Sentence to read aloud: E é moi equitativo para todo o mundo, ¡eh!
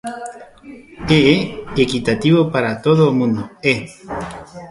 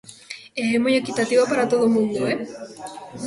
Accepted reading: second